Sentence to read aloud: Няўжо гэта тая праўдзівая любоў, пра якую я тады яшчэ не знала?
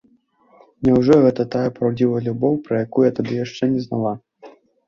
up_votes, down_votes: 1, 2